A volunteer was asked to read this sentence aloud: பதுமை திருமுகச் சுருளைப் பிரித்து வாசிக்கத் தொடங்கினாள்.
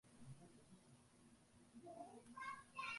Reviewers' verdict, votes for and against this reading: rejected, 0, 2